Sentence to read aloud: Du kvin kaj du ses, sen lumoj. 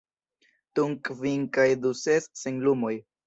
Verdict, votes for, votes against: rejected, 0, 2